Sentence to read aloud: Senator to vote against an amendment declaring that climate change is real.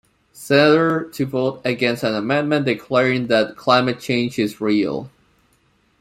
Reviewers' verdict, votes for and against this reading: rejected, 1, 2